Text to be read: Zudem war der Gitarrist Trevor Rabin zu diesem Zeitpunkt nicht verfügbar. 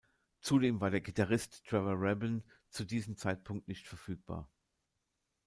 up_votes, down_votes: 2, 0